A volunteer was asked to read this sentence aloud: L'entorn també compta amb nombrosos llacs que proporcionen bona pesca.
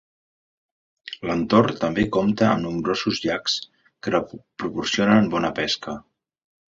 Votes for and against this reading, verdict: 1, 2, rejected